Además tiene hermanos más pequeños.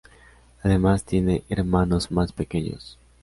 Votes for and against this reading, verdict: 4, 0, accepted